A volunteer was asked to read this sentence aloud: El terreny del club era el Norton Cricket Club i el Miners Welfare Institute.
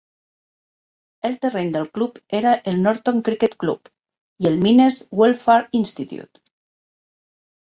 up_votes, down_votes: 4, 0